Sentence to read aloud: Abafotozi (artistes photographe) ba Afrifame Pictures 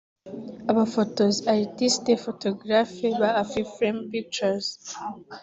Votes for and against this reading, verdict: 3, 0, accepted